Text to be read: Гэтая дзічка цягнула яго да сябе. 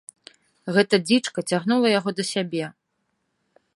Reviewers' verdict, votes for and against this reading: rejected, 0, 2